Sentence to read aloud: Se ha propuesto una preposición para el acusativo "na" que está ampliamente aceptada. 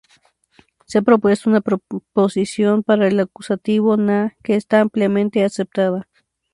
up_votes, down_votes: 0, 2